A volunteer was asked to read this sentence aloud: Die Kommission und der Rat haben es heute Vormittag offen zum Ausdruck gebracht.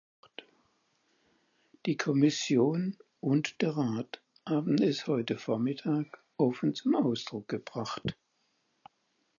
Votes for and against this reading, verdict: 4, 0, accepted